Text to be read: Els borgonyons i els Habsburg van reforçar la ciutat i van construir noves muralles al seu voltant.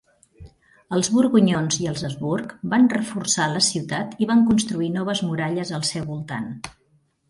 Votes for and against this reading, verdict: 2, 0, accepted